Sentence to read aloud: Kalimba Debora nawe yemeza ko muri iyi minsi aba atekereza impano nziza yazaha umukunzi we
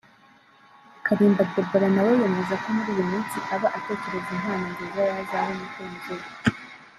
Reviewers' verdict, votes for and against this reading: rejected, 1, 2